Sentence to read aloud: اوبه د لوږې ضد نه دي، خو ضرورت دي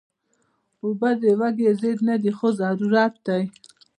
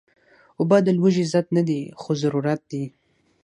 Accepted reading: second